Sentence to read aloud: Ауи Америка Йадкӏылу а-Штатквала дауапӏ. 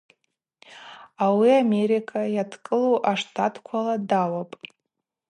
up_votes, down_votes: 2, 0